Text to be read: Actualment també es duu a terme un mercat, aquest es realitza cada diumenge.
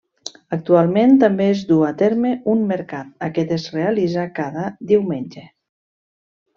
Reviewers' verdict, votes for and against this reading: accepted, 2, 0